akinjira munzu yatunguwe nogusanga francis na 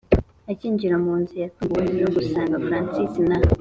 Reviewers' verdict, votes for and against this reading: accepted, 2, 0